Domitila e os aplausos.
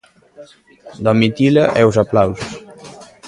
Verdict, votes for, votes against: accepted, 2, 0